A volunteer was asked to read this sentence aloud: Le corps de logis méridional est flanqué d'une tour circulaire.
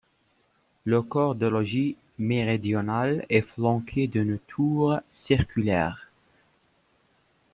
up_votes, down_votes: 2, 0